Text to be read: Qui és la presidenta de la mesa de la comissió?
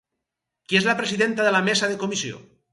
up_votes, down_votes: 0, 4